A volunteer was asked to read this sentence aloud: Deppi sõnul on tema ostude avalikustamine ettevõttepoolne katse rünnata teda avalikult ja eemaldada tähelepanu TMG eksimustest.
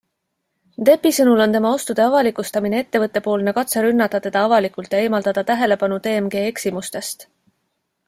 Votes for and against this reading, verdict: 2, 0, accepted